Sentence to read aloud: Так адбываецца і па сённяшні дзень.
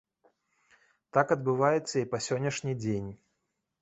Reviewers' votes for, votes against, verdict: 2, 0, accepted